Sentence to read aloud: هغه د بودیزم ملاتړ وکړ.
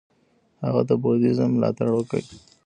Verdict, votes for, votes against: rejected, 0, 2